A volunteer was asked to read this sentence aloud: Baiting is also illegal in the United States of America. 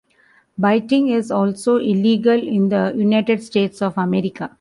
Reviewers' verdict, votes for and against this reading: rejected, 0, 2